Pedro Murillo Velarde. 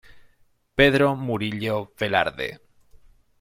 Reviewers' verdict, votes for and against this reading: accepted, 2, 0